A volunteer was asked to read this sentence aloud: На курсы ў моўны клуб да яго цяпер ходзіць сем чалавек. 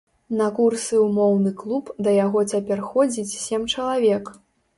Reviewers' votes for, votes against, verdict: 2, 0, accepted